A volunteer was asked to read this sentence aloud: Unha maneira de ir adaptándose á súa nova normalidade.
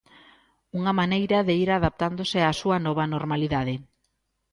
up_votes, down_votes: 2, 0